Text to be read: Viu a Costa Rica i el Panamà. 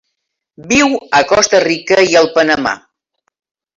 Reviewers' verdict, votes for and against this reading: accepted, 3, 1